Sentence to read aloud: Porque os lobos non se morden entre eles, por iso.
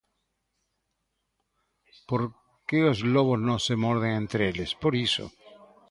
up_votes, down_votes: 2, 0